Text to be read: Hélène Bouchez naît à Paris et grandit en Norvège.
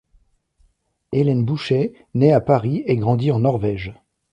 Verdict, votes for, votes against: accepted, 2, 0